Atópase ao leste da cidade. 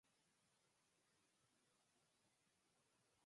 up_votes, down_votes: 0, 4